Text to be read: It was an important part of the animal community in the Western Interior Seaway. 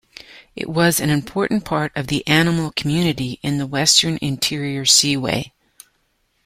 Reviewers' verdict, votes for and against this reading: accepted, 2, 1